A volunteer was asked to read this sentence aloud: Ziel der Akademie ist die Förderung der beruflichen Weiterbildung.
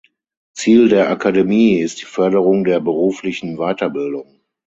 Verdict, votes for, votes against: accepted, 6, 0